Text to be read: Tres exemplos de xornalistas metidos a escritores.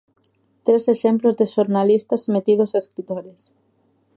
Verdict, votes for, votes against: accepted, 2, 0